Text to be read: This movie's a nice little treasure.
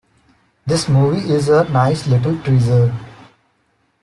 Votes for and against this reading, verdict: 0, 2, rejected